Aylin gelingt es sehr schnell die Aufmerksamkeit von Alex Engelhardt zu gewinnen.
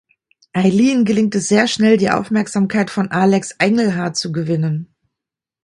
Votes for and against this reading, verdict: 2, 0, accepted